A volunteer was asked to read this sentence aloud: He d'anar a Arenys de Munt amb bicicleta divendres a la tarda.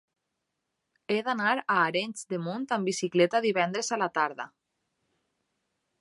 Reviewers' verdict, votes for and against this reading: accepted, 3, 1